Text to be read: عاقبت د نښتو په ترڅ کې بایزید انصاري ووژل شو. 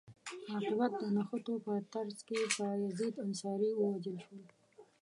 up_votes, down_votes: 1, 2